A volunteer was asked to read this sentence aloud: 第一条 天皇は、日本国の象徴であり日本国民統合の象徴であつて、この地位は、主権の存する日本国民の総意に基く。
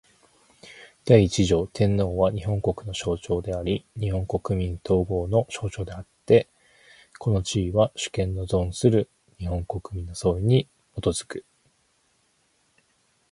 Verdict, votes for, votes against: accepted, 4, 2